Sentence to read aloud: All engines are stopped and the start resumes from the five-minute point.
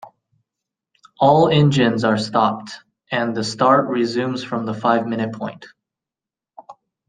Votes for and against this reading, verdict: 2, 0, accepted